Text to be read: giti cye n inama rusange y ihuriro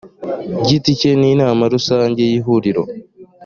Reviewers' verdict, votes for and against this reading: accepted, 2, 0